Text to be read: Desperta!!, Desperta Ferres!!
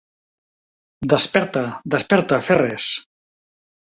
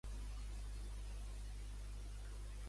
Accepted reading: first